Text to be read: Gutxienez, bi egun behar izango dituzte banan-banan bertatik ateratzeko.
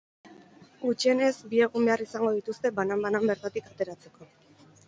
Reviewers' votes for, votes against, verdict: 2, 0, accepted